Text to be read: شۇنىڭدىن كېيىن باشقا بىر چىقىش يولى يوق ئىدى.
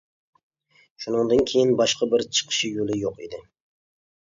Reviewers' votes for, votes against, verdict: 2, 0, accepted